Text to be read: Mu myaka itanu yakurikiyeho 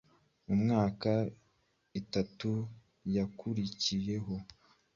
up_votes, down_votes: 1, 2